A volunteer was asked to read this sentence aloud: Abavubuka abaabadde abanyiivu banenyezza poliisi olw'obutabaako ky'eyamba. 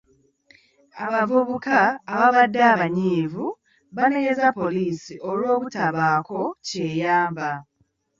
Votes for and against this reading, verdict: 0, 2, rejected